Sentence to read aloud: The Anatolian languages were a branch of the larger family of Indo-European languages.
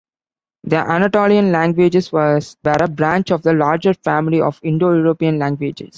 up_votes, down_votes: 1, 2